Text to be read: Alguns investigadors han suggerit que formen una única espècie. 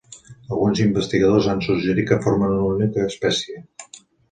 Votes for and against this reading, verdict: 2, 0, accepted